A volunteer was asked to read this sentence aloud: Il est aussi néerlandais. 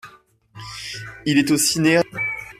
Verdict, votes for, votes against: rejected, 0, 2